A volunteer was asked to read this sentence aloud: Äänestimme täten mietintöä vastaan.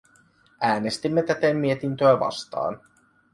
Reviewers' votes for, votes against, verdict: 2, 0, accepted